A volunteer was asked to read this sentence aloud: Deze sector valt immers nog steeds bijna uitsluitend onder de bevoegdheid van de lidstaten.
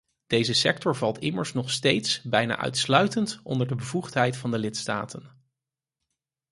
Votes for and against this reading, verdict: 4, 0, accepted